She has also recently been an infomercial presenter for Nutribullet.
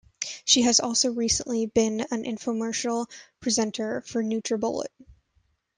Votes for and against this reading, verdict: 2, 0, accepted